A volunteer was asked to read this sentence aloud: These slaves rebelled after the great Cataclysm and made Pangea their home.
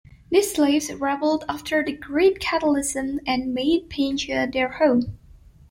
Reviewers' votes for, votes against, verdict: 0, 2, rejected